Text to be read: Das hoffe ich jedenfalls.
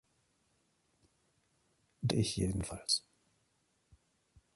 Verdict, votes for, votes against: rejected, 0, 3